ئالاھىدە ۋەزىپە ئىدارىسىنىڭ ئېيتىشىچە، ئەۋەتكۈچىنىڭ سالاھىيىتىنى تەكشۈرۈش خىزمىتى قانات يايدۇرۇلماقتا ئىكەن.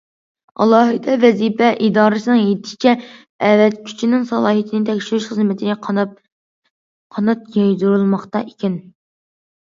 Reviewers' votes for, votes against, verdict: 0, 2, rejected